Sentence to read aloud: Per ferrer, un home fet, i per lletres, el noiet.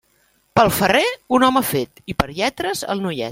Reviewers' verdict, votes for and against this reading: rejected, 1, 2